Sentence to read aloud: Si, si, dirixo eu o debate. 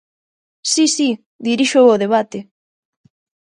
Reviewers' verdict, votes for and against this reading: accepted, 2, 0